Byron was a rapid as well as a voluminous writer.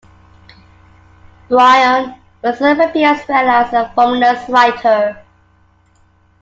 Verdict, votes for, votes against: rejected, 1, 2